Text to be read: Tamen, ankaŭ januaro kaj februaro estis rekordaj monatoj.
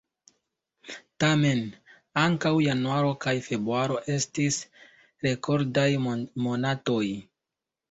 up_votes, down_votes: 1, 2